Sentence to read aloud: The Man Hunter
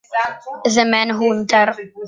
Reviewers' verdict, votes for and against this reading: rejected, 0, 2